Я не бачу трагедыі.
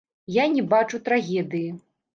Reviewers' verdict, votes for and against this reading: rejected, 1, 2